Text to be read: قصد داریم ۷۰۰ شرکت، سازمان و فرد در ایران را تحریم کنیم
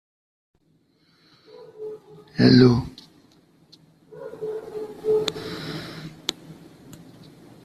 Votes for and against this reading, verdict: 0, 2, rejected